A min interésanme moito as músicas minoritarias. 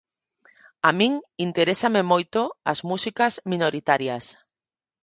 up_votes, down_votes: 2, 4